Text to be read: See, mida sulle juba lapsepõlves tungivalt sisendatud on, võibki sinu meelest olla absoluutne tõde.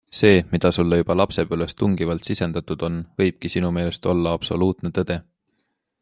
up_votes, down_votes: 3, 0